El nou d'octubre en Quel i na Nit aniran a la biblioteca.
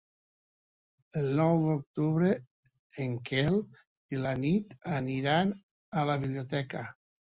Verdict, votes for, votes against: rejected, 1, 2